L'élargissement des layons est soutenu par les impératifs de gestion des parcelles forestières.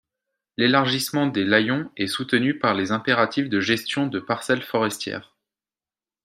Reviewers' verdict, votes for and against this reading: rejected, 1, 2